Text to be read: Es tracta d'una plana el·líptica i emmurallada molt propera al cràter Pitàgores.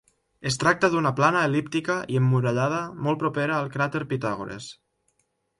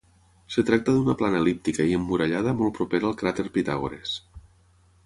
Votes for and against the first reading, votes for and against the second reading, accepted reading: 3, 0, 0, 6, first